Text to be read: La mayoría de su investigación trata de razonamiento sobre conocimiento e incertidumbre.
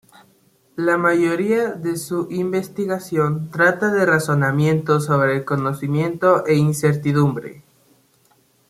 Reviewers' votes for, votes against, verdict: 2, 0, accepted